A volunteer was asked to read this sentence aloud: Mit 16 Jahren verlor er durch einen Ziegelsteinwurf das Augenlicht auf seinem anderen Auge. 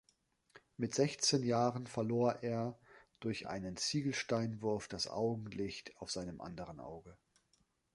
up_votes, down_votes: 0, 2